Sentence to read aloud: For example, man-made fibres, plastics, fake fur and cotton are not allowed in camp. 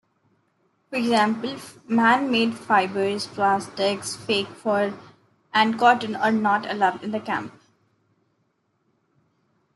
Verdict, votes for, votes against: rejected, 0, 2